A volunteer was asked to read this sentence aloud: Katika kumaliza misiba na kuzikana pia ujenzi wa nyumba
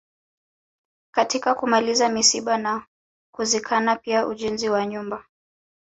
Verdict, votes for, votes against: accepted, 3, 0